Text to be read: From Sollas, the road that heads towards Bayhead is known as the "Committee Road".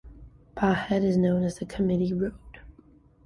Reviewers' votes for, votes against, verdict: 1, 2, rejected